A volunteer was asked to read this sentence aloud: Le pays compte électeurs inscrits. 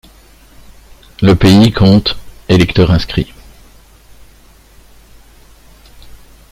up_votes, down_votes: 2, 0